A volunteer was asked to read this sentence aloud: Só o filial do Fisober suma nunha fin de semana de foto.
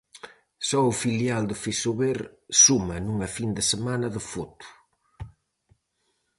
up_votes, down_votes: 4, 0